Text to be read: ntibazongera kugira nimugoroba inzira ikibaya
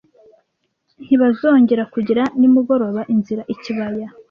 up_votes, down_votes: 2, 0